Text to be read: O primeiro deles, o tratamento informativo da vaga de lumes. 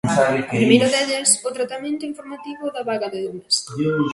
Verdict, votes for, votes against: rejected, 0, 2